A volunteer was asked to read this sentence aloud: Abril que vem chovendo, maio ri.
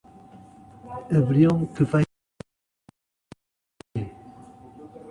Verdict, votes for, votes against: rejected, 0, 2